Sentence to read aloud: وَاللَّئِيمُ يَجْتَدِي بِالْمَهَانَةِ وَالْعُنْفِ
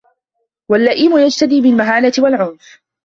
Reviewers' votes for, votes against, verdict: 2, 0, accepted